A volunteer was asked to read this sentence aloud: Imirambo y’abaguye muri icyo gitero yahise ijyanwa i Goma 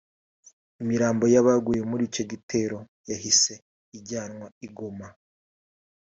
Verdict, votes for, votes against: rejected, 0, 2